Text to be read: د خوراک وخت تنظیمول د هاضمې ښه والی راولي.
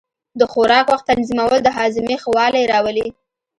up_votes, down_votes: 2, 0